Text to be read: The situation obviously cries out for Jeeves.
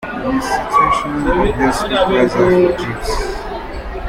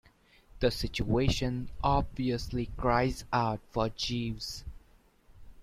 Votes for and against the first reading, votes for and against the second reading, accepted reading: 0, 2, 2, 0, second